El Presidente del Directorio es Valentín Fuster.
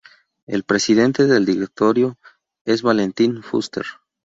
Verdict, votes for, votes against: rejected, 0, 2